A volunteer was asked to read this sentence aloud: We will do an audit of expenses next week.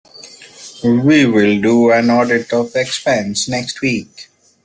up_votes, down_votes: 0, 2